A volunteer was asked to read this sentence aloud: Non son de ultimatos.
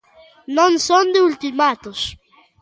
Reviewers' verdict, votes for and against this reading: accepted, 2, 0